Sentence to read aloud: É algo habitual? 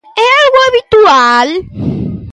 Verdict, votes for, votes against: accepted, 2, 0